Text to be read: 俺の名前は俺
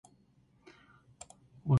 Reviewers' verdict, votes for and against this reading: rejected, 0, 2